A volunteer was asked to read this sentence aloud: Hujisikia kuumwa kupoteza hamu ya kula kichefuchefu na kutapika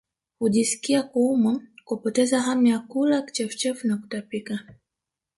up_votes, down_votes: 1, 2